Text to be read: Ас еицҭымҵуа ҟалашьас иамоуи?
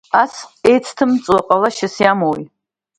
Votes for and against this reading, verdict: 1, 2, rejected